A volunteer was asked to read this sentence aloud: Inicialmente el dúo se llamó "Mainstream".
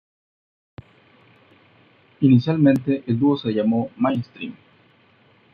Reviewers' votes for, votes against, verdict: 2, 0, accepted